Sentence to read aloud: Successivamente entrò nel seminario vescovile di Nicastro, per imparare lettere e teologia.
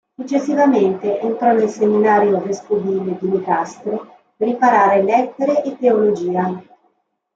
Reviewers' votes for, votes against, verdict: 1, 2, rejected